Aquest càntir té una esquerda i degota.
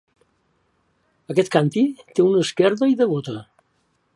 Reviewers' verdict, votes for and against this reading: rejected, 1, 2